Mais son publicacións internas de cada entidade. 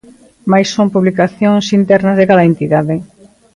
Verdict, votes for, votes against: rejected, 1, 2